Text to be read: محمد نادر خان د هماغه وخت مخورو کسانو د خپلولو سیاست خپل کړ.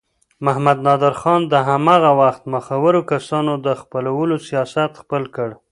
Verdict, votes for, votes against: rejected, 0, 2